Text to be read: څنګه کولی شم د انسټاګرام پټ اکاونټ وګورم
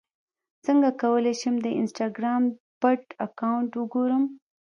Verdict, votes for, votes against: rejected, 0, 2